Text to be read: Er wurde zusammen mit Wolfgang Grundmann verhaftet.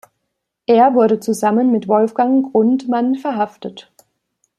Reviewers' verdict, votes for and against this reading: accepted, 2, 0